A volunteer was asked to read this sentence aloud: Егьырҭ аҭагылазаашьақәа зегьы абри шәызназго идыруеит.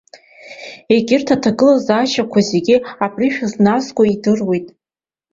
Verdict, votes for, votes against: accepted, 2, 0